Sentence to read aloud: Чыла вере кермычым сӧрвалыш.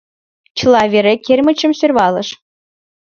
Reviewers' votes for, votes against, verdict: 2, 0, accepted